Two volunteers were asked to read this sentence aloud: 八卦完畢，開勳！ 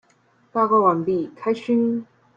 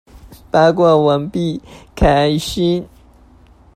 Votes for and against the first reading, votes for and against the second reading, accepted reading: 2, 0, 0, 2, first